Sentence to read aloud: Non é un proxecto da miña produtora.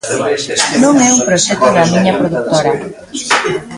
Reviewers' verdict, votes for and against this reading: rejected, 0, 2